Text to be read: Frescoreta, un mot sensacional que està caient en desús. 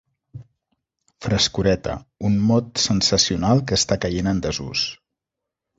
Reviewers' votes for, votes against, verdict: 3, 0, accepted